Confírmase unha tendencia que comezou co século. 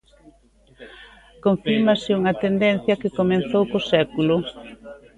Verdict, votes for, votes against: rejected, 0, 2